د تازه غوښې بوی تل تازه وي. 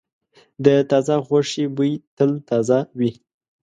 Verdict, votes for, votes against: accepted, 2, 0